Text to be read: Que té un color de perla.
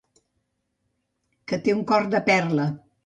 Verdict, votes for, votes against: rejected, 0, 2